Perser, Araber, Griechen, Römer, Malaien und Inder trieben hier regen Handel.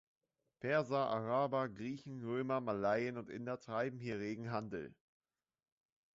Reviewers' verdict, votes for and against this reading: rejected, 0, 2